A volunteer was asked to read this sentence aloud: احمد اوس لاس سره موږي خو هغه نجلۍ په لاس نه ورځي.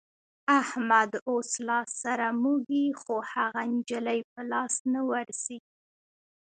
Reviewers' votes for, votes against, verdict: 1, 3, rejected